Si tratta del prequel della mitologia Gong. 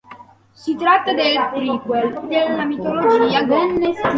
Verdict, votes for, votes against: rejected, 0, 2